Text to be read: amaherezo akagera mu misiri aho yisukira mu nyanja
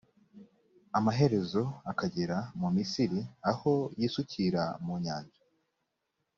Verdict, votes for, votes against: accepted, 2, 0